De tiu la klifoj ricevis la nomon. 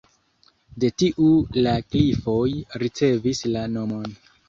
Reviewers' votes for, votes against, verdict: 2, 1, accepted